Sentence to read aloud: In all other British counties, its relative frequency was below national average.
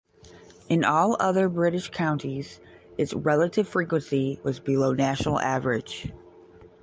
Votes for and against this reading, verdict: 0, 5, rejected